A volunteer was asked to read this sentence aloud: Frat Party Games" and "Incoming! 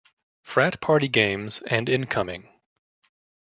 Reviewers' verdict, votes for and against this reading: accepted, 2, 0